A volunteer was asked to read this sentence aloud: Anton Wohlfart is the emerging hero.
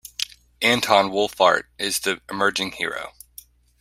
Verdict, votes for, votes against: rejected, 0, 2